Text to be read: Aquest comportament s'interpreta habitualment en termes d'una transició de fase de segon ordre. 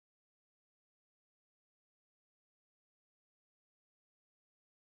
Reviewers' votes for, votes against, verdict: 0, 2, rejected